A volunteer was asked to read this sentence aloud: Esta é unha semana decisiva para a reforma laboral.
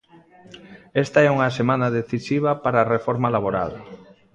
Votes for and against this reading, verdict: 2, 0, accepted